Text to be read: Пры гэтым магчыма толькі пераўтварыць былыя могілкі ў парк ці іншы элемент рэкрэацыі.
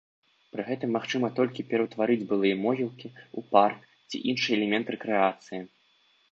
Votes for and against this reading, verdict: 0, 2, rejected